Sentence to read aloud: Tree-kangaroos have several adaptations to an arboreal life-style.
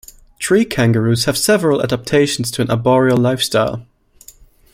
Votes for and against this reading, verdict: 2, 0, accepted